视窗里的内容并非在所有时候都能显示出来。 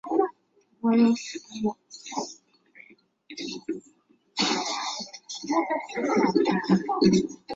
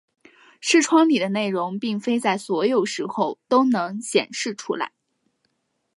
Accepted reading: second